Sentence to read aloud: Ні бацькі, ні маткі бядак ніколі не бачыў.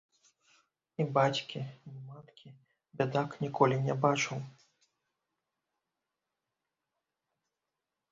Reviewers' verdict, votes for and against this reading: rejected, 1, 2